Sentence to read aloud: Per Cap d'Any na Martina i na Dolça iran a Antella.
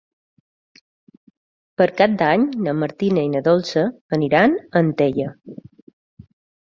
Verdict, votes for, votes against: rejected, 1, 3